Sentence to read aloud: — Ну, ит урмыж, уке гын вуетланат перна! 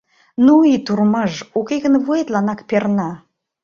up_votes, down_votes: 1, 2